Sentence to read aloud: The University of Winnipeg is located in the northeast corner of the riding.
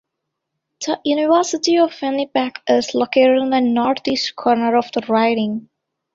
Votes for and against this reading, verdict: 1, 2, rejected